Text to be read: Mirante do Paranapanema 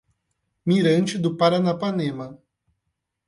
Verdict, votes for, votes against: accepted, 8, 0